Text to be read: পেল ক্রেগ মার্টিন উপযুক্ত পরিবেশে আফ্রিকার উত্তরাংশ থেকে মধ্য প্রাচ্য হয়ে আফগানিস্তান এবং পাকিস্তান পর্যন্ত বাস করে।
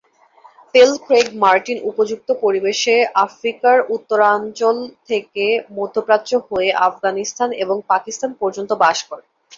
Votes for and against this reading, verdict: 0, 2, rejected